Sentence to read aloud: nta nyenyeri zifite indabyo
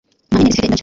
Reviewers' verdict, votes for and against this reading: rejected, 1, 2